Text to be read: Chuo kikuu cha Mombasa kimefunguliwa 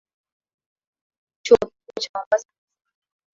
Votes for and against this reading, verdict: 0, 2, rejected